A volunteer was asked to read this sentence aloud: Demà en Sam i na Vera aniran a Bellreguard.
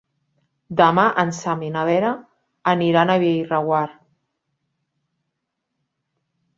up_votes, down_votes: 4, 1